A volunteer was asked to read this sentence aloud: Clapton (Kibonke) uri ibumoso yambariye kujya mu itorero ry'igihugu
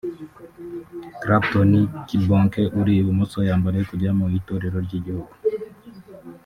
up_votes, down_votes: 1, 2